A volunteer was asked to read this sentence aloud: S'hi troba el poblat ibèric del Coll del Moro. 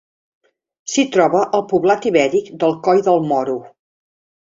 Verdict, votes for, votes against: accepted, 2, 0